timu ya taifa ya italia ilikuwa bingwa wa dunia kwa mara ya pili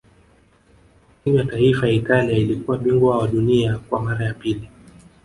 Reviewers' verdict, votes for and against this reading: rejected, 0, 2